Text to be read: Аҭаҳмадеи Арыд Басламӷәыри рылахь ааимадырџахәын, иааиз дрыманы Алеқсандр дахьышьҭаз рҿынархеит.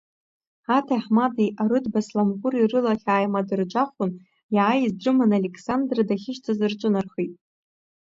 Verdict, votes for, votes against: rejected, 1, 2